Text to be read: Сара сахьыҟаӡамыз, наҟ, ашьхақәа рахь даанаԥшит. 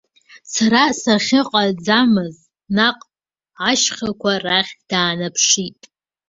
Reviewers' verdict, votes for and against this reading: accepted, 2, 0